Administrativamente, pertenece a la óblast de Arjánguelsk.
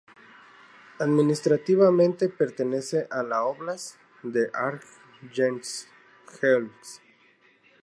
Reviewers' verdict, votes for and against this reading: accepted, 2, 0